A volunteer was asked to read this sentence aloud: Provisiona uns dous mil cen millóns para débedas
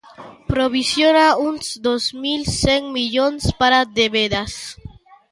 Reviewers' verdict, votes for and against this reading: rejected, 0, 2